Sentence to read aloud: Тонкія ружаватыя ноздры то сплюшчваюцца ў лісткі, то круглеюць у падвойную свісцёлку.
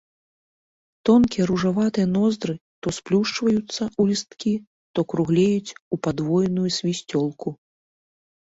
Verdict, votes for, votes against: accepted, 2, 1